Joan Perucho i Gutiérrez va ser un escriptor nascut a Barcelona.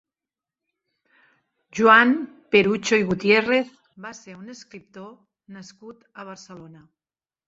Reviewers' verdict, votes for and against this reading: accepted, 3, 0